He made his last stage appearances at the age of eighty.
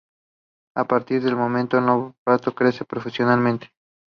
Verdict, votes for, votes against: rejected, 0, 2